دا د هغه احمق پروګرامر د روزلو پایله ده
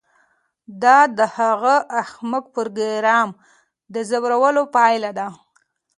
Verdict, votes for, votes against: rejected, 0, 2